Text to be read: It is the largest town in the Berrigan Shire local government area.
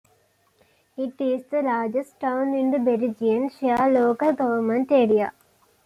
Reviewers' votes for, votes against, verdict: 2, 1, accepted